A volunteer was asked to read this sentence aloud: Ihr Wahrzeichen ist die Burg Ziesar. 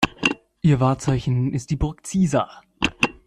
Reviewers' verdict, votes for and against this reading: accepted, 2, 0